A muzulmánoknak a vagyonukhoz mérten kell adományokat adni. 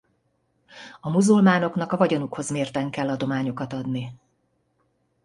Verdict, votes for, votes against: accepted, 2, 0